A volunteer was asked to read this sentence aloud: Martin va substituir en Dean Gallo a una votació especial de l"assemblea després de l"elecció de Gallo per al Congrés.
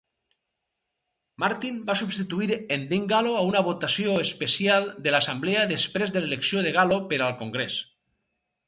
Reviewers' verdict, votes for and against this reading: accepted, 4, 0